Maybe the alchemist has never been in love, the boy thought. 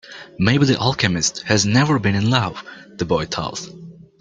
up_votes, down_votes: 1, 2